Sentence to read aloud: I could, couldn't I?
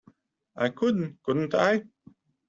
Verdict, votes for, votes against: rejected, 1, 2